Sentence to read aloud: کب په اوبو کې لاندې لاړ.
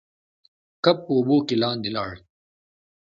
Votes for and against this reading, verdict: 2, 0, accepted